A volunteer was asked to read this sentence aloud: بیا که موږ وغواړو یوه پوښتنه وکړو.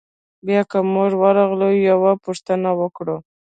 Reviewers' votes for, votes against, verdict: 1, 2, rejected